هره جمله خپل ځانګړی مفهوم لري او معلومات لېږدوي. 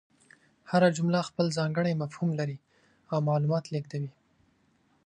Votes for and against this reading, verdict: 4, 0, accepted